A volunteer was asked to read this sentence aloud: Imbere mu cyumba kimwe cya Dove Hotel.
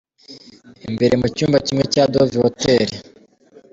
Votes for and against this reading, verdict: 2, 0, accepted